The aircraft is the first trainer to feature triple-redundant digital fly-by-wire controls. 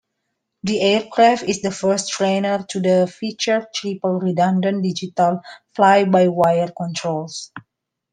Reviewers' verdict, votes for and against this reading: rejected, 1, 2